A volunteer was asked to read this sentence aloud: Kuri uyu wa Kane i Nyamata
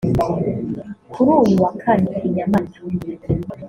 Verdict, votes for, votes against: accepted, 2, 0